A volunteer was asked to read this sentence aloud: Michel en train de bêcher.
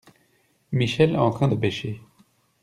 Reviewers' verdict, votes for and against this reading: rejected, 0, 2